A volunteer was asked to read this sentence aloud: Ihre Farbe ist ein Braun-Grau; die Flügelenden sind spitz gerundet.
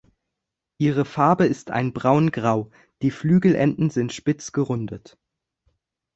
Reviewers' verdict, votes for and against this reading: accepted, 2, 0